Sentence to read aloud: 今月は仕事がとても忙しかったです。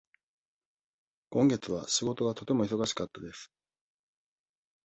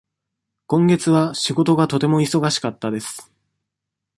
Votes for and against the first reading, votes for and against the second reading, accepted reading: 1, 2, 2, 0, second